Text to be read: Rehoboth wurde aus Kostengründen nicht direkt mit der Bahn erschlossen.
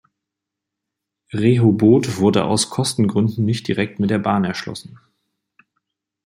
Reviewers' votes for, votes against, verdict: 2, 0, accepted